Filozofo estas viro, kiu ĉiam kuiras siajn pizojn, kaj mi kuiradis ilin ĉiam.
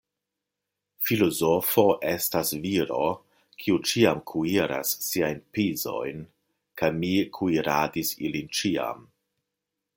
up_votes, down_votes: 2, 0